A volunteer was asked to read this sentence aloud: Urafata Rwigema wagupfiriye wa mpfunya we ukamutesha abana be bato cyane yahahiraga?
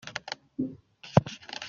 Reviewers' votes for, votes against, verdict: 0, 2, rejected